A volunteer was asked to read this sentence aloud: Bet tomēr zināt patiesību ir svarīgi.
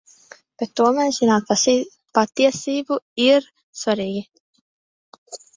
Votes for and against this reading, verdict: 0, 2, rejected